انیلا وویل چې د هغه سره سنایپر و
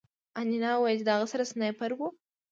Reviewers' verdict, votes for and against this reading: accepted, 2, 0